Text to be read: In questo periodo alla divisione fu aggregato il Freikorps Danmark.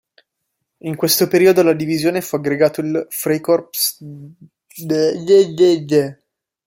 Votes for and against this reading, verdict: 0, 2, rejected